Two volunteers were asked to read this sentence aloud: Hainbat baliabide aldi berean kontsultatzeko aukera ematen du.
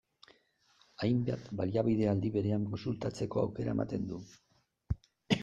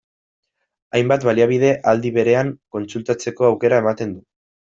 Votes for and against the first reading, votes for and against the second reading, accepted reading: 2, 0, 1, 2, first